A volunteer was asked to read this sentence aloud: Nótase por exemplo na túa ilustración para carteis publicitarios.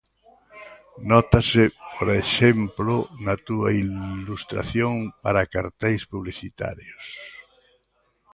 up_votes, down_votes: 0, 2